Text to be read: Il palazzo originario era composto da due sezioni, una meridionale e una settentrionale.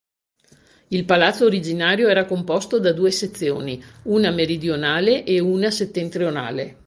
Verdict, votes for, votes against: accepted, 2, 0